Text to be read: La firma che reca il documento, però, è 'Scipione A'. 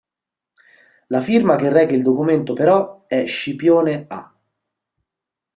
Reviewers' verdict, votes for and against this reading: accepted, 2, 0